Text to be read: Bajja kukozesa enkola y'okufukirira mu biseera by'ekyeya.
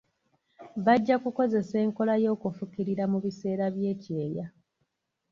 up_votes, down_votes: 1, 2